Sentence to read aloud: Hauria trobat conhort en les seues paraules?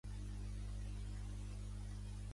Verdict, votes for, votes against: rejected, 0, 2